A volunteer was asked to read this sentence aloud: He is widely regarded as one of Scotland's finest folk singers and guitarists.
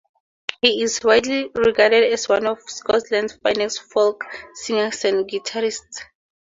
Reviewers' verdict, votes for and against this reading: accepted, 4, 0